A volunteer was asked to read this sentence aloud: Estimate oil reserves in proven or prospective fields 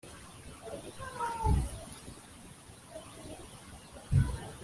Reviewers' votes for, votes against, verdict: 0, 2, rejected